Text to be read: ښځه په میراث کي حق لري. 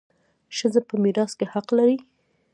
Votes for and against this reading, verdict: 0, 2, rejected